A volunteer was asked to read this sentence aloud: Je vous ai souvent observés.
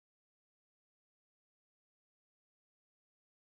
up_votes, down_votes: 0, 2